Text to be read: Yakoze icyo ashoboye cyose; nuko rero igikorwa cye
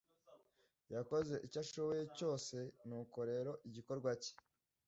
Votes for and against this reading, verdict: 2, 0, accepted